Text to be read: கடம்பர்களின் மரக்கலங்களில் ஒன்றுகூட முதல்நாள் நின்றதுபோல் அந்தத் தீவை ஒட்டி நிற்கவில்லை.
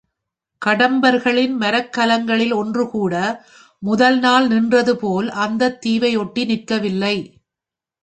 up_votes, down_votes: 2, 1